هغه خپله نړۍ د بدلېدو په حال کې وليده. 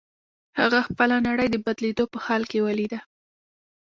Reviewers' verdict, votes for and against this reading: rejected, 1, 2